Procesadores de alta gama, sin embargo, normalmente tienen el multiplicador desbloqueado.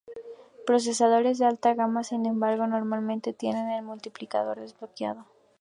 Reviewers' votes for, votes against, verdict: 2, 0, accepted